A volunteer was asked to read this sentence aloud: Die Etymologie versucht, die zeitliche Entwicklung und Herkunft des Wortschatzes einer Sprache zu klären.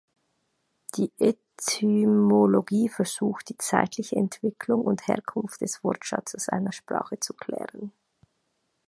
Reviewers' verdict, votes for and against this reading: rejected, 1, 2